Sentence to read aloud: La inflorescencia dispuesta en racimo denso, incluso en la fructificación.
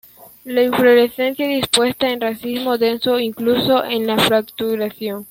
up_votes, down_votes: 0, 2